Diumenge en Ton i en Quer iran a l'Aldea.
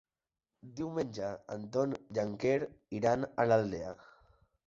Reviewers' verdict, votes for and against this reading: accepted, 4, 0